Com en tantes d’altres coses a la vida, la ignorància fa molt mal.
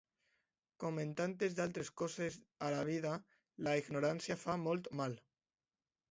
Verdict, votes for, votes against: accepted, 2, 0